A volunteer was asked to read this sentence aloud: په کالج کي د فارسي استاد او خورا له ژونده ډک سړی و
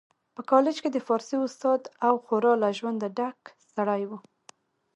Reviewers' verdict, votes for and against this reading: accepted, 2, 0